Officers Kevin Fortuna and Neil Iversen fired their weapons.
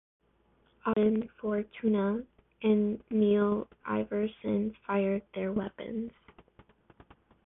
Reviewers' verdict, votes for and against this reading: rejected, 0, 2